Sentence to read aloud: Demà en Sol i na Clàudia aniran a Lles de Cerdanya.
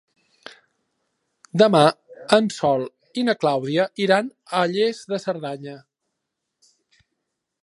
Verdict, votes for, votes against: rejected, 0, 2